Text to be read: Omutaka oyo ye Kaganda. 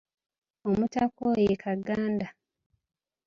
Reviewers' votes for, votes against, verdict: 1, 2, rejected